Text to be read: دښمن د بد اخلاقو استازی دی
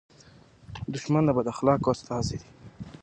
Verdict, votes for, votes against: accepted, 2, 1